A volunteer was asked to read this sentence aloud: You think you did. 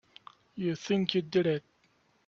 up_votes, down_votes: 0, 2